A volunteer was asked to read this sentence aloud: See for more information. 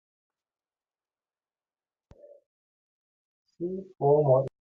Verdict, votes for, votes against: rejected, 0, 2